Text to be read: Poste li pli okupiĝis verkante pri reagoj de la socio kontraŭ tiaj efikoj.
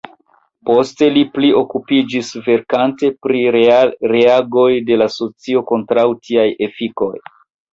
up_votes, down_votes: 0, 2